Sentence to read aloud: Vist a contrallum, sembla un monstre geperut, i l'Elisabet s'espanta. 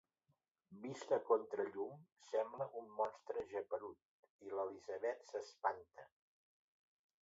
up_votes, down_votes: 2, 0